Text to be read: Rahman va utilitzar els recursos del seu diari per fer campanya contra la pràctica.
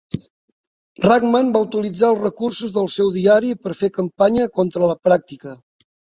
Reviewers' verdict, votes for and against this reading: accepted, 3, 0